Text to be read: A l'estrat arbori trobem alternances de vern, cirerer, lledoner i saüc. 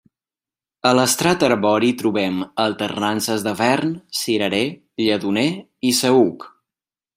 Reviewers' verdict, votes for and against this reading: accepted, 2, 0